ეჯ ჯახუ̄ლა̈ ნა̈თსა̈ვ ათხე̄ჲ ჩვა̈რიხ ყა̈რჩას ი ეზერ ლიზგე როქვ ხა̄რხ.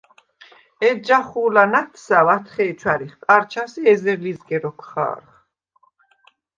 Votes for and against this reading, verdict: 2, 0, accepted